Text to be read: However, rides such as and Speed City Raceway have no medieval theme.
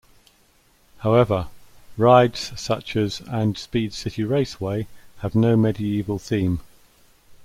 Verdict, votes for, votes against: accepted, 2, 1